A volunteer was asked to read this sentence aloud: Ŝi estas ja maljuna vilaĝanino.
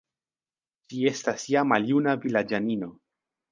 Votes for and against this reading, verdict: 2, 0, accepted